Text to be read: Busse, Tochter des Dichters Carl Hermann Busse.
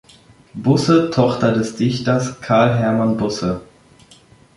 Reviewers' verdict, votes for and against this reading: accepted, 2, 0